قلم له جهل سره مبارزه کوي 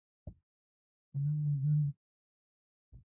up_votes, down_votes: 0, 2